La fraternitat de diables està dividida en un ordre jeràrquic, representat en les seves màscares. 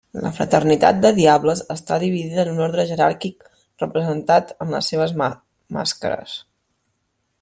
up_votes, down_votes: 0, 2